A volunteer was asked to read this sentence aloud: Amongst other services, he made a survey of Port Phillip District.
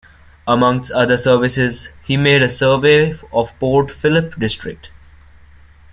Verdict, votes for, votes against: accepted, 2, 0